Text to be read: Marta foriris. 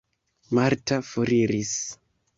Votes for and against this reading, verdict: 3, 1, accepted